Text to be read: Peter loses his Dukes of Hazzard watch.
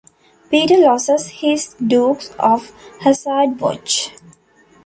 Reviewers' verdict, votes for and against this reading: rejected, 1, 2